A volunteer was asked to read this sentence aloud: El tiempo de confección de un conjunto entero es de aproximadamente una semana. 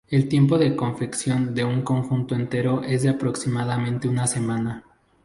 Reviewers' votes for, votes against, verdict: 0, 2, rejected